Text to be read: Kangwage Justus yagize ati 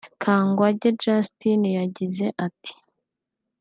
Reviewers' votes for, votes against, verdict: 0, 3, rejected